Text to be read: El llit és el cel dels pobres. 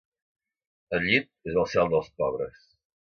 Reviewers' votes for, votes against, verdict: 2, 0, accepted